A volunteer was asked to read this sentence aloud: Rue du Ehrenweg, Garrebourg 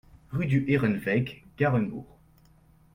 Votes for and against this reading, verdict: 0, 2, rejected